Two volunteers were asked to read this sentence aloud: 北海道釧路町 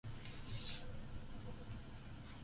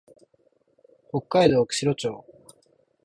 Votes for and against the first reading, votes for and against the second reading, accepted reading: 0, 2, 2, 0, second